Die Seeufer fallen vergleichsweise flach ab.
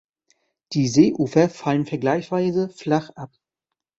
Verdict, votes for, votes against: rejected, 0, 2